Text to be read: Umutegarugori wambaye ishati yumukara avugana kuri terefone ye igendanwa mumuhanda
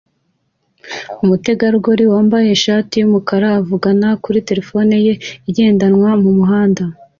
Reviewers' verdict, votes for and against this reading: accepted, 2, 0